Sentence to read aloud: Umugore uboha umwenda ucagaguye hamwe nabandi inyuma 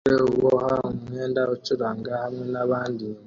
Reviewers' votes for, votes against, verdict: 0, 2, rejected